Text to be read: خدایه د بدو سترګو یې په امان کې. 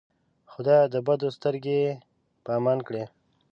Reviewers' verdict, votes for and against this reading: rejected, 0, 2